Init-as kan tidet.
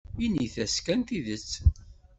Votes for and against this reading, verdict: 2, 0, accepted